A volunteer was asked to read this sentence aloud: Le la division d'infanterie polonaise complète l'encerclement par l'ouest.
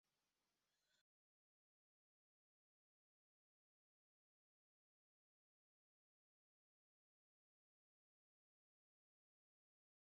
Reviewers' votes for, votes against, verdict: 0, 2, rejected